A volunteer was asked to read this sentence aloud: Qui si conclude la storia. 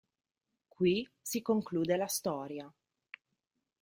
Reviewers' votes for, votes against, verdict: 3, 0, accepted